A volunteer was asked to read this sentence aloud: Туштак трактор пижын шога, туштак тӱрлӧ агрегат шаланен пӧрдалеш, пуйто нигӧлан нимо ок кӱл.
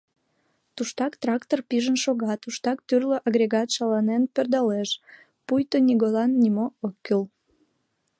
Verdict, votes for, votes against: accepted, 2, 0